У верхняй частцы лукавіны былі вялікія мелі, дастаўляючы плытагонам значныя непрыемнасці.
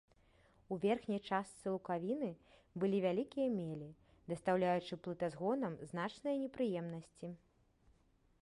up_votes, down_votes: 1, 2